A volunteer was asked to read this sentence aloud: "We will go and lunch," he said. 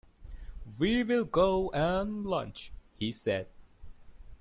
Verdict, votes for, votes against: accepted, 2, 0